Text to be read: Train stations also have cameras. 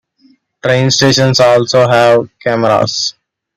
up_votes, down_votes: 2, 1